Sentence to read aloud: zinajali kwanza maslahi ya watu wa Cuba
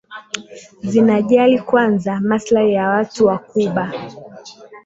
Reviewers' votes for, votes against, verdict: 1, 2, rejected